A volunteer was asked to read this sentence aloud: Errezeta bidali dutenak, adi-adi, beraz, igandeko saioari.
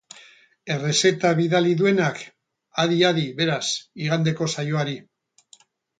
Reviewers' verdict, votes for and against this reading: rejected, 2, 2